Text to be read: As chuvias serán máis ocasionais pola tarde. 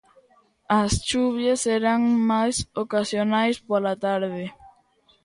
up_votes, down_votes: 2, 0